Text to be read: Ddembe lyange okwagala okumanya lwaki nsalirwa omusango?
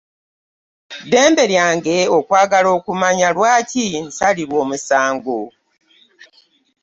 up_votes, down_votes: 2, 0